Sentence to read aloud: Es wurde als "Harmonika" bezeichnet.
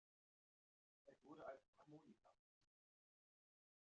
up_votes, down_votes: 0, 2